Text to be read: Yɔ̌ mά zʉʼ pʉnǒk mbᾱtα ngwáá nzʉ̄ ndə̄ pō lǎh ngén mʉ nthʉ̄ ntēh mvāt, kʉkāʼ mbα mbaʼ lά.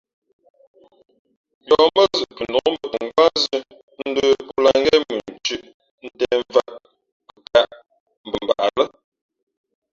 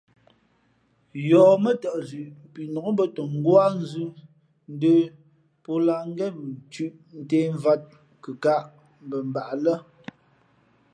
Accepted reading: second